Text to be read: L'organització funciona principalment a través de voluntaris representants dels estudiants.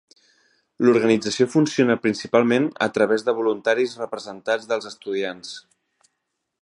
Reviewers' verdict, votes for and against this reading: rejected, 1, 2